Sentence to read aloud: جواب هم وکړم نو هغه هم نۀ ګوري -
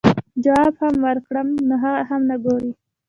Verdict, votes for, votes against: rejected, 1, 2